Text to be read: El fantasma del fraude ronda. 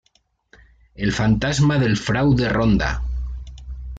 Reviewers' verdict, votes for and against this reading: accepted, 2, 0